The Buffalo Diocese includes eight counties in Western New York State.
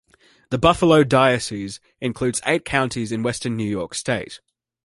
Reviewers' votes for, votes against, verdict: 2, 0, accepted